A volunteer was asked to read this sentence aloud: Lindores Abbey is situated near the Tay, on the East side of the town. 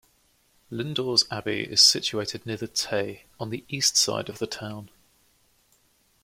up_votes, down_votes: 2, 0